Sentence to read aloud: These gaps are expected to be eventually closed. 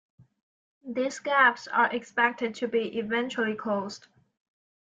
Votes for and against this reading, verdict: 2, 0, accepted